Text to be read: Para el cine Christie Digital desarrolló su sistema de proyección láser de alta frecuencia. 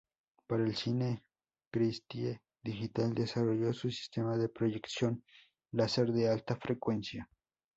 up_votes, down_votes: 2, 0